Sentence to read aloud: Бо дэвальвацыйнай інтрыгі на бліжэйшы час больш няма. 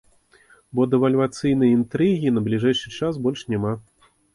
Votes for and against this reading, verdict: 2, 0, accepted